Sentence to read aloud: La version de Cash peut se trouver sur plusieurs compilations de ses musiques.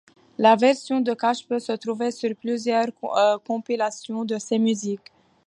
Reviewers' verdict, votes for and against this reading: rejected, 0, 2